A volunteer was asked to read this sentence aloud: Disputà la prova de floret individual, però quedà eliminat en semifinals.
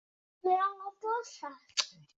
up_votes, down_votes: 0, 2